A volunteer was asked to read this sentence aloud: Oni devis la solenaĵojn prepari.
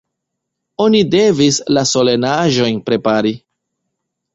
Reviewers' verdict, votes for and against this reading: accepted, 2, 0